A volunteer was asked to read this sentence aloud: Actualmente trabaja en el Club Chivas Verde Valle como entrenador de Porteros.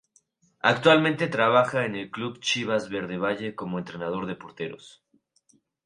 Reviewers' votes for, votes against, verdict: 2, 0, accepted